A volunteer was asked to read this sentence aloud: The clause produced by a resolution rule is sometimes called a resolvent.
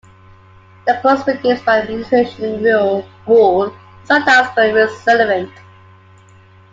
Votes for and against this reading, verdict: 0, 2, rejected